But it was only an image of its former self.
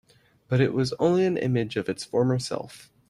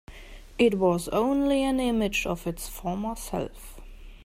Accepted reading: first